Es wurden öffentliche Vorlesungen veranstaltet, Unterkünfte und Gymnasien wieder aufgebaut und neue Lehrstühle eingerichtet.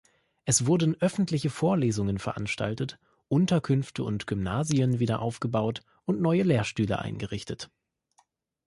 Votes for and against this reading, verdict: 2, 0, accepted